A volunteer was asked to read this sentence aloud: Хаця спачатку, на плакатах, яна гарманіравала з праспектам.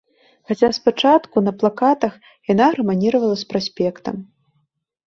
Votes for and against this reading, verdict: 2, 0, accepted